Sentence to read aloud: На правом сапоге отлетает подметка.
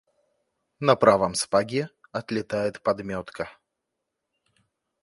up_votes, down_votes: 2, 0